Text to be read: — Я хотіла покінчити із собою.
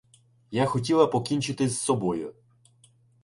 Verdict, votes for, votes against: rejected, 0, 2